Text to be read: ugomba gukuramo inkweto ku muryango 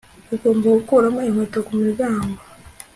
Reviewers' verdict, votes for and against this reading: accepted, 2, 0